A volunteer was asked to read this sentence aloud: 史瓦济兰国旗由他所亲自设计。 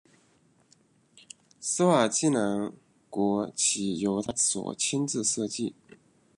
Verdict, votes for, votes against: rejected, 0, 2